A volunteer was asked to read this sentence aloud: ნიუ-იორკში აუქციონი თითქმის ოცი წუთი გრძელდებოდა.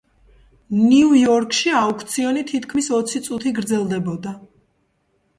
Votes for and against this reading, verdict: 2, 0, accepted